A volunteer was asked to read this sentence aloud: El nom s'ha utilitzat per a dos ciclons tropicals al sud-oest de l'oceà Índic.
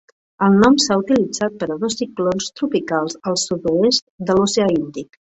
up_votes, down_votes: 4, 0